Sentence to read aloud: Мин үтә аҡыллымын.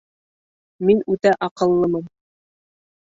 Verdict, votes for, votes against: accepted, 2, 0